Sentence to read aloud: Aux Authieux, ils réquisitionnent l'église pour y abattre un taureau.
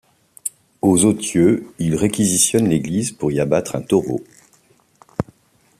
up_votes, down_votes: 2, 0